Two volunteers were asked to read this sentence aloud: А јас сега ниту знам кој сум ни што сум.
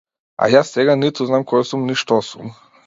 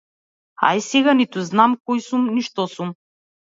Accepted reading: first